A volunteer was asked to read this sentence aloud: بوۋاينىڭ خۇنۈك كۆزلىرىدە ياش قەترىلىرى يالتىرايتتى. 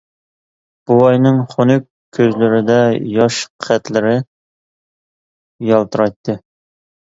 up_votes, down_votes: 0, 2